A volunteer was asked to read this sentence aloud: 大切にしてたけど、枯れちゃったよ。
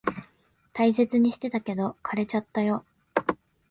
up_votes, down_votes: 3, 0